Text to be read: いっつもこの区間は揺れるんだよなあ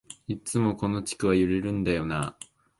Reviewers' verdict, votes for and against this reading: rejected, 1, 2